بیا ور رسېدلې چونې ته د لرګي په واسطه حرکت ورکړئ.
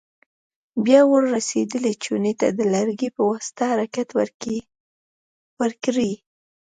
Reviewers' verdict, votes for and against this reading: accepted, 2, 0